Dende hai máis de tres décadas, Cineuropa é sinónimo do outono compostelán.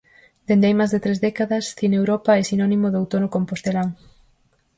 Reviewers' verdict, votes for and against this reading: accepted, 4, 0